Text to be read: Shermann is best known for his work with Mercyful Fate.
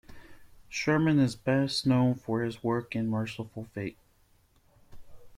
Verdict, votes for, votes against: rejected, 0, 2